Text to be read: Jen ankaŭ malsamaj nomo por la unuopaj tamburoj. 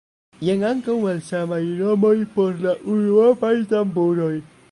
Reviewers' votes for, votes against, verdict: 1, 3, rejected